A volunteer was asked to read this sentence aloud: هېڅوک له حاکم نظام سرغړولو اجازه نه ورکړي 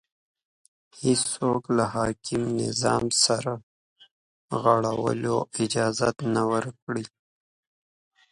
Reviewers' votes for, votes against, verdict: 2, 0, accepted